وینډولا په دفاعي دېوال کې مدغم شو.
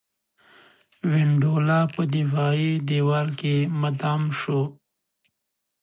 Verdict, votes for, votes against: accepted, 2, 0